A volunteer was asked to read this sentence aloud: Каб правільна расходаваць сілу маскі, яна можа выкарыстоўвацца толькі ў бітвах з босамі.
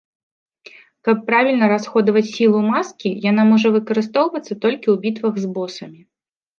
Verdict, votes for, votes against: accepted, 2, 0